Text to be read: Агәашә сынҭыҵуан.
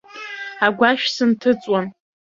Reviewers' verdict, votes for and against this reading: rejected, 0, 2